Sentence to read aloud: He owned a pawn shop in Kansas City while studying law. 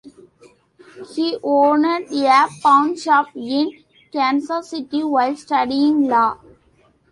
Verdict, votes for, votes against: rejected, 0, 2